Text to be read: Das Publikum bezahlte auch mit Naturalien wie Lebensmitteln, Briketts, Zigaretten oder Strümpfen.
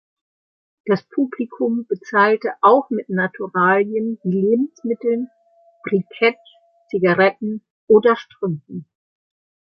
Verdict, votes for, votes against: accepted, 2, 0